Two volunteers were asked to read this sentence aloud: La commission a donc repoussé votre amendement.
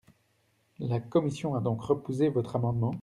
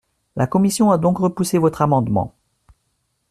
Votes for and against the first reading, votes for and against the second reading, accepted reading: 0, 2, 2, 0, second